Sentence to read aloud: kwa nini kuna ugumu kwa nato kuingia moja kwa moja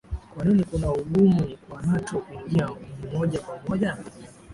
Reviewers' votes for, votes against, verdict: 2, 0, accepted